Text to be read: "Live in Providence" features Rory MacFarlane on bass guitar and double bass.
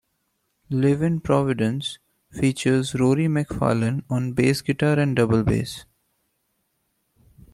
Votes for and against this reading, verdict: 2, 1, accepted